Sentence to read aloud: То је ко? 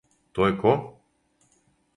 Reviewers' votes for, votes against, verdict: 2, 0, accepted